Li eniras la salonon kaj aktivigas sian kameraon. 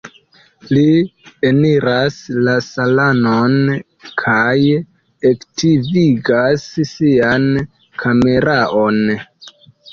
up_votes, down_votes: 0, 2